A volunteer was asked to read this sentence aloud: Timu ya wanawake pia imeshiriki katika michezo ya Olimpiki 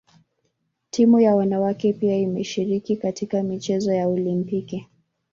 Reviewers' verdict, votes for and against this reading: rejected, 1, 2